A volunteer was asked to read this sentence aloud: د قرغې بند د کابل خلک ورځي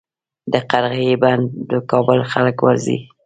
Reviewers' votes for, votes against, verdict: 2, 0, accepted